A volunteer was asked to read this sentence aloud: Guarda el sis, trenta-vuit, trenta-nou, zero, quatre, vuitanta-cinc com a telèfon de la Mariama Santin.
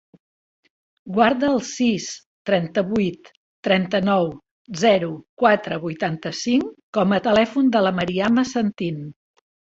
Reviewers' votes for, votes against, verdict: 2, 0, accepted